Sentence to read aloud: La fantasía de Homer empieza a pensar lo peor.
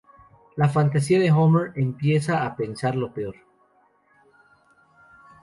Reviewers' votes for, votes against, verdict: 2, 0, accepted